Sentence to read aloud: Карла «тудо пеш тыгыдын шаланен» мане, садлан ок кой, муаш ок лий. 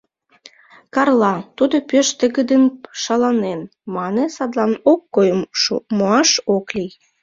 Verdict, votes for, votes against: rejected, 0, 2